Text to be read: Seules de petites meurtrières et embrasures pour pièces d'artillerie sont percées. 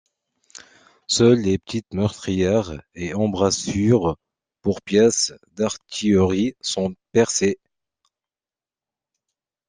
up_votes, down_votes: 2, 0